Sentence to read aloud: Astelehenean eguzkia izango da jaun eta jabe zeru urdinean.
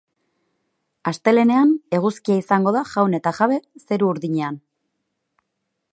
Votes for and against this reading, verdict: 2, 0, accepted